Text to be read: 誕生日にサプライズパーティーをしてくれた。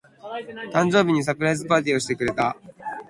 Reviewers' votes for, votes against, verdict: 15, 0, accepted